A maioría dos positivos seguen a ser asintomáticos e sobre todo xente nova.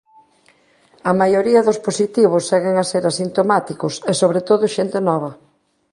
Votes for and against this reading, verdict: 2, 0, accepted